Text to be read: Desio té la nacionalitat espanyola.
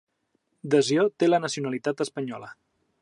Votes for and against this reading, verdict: 3, 0, accepted